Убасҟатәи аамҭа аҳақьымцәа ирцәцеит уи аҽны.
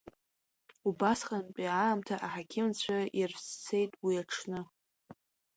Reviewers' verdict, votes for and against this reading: rejected, 0, 2